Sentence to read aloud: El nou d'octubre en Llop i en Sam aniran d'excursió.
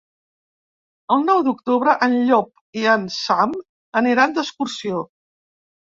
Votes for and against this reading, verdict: 2, 0, accepted